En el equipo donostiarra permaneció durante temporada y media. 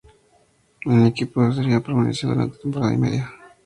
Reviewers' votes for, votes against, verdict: 0, 2, rejected